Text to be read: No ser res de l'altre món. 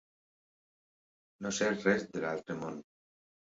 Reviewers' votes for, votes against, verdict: 2, 0, accepted